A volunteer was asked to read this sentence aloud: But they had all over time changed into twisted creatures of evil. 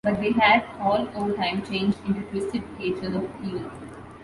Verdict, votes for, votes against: rejected, 0, 2